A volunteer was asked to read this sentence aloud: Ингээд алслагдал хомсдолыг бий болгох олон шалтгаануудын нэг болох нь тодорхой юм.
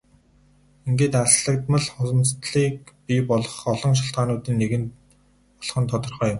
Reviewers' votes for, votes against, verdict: 2, 2, rejected